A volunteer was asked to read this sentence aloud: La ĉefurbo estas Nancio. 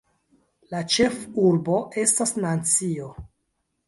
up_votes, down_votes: 2, 1